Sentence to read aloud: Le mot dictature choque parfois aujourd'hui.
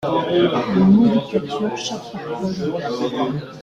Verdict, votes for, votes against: rejected, 0, 2